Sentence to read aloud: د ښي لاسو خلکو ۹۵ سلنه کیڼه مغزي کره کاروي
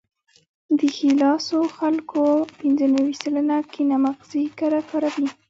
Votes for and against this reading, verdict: 0, 2, rejected